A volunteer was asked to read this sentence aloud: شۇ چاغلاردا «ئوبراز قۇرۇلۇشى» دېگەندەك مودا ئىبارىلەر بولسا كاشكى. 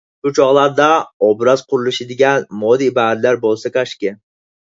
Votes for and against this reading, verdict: 0, 4, rejected